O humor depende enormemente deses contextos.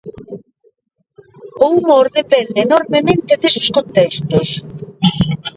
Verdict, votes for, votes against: rejected, 2, 3